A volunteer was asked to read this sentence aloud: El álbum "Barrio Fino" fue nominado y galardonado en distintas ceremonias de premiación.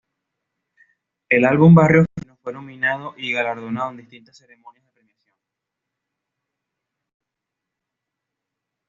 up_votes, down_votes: 1, 2